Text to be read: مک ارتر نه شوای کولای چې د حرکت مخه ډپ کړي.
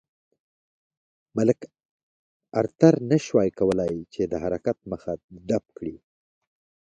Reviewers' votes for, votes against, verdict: 3, 1, accepted